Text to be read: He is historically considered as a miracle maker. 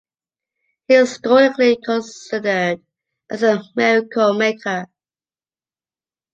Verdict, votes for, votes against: accepted, 2, 0